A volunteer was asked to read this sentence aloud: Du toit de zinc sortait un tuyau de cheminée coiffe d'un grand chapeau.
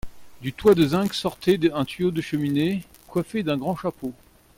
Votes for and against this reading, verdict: 0, 2, rejected